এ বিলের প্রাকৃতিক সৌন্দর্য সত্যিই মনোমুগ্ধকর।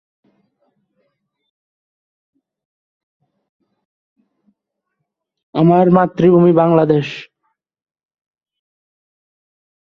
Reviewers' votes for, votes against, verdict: 0, 2, rejected